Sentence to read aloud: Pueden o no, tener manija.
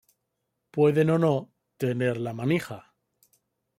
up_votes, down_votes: 1, 2